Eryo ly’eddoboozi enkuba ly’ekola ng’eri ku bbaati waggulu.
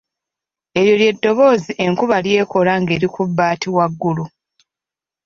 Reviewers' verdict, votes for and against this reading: accepted, 2, 0